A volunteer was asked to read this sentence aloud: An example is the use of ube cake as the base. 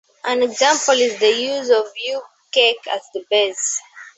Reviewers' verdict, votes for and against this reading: accepted, 2, 0